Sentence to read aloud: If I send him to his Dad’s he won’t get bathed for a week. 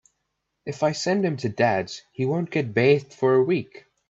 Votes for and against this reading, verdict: 2, 1, accepted